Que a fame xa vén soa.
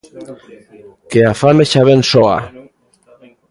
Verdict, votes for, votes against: rejected, 0, 2